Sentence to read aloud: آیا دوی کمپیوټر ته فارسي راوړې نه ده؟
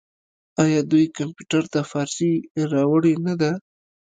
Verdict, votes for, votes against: rejected, 1, 2